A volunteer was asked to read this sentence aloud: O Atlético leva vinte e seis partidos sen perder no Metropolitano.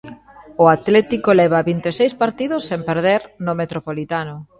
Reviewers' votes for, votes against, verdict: 1, 2, rejected